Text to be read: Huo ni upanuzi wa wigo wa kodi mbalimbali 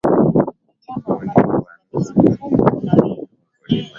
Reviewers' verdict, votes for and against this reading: rejected, 0, 3